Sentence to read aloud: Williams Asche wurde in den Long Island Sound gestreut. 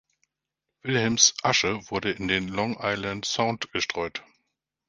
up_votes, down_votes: 1, 2